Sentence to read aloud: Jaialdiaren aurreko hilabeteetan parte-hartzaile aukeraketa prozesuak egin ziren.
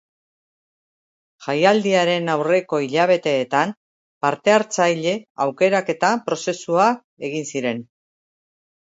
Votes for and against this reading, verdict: 1, 3, rejected